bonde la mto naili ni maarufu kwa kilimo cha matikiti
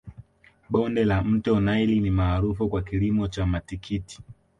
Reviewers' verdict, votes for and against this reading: accepted, 2, 0